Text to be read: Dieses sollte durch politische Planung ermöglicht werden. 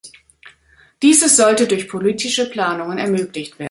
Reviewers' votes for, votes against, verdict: 1, 2, rejected